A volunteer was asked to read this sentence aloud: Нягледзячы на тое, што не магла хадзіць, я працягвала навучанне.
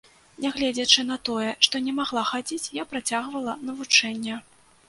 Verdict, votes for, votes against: rejected, 0, 2